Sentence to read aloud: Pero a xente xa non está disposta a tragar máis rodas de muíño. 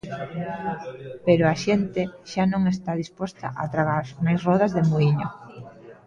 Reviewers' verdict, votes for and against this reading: accepted, 2, 0